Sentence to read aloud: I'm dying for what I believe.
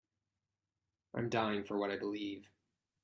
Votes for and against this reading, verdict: 2, 0, accepted